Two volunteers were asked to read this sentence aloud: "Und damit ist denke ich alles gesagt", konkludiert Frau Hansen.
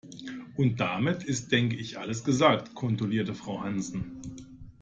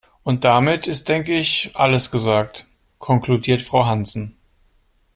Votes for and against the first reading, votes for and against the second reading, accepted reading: 0, 2, 2, 0, second